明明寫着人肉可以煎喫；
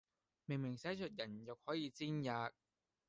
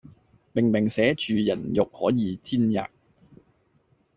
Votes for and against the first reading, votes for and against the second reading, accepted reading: 2, 0, 0, 2, first